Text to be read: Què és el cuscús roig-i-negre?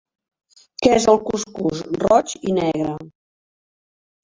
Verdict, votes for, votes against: rejected, 1, 2